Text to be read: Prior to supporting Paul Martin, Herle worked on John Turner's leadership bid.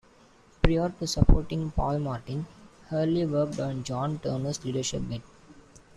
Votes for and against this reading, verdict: 0, 2, rejected